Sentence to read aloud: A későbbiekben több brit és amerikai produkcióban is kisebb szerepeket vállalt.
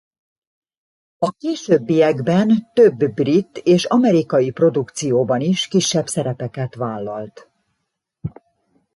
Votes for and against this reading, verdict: 2, 0, accepted